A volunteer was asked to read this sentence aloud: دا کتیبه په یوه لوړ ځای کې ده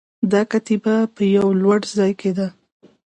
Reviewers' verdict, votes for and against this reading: accepted, 2, 0